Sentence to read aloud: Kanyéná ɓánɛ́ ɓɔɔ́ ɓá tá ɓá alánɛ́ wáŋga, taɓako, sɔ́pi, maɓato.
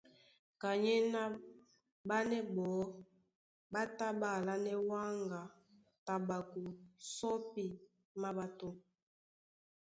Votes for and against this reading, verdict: 2, 0, accepted